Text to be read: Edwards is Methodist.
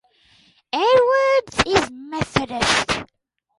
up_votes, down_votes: 4, 0